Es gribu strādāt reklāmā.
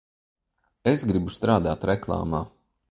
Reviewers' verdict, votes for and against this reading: accepted, 2, 0